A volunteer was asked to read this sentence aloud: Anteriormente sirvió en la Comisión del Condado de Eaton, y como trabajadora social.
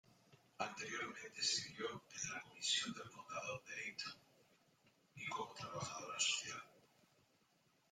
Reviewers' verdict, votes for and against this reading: accepted, 2, 1